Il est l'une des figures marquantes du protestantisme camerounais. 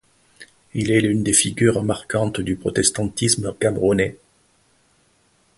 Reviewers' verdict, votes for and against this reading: accepted, 2, 0